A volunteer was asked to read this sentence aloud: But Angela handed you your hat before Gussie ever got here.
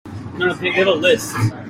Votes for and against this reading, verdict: 0, 3, rejected